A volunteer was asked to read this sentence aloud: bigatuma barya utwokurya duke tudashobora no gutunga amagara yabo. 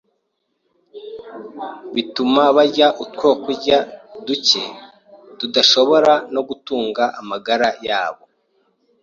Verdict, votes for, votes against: rejected, 1, 2